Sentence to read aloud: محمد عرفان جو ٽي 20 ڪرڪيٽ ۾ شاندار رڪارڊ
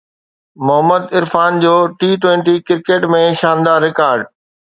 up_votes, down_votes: 0, 2